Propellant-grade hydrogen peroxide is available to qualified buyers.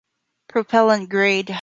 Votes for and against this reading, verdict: 0, 2, rejected